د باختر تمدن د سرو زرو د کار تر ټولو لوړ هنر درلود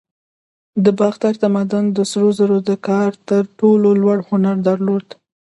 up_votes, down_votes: 2, 0